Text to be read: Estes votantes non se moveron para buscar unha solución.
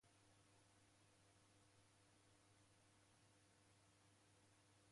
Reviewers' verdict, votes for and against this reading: rejected, 0, 2